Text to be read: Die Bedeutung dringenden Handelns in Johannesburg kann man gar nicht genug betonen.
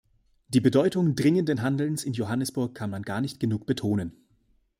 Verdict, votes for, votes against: accepted, 2, 0